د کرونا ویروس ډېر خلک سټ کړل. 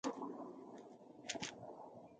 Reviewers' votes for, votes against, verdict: 0, 2, rejected